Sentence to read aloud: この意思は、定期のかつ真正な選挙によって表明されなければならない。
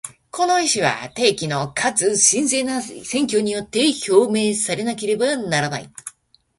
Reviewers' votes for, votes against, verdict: 0, 2, rejected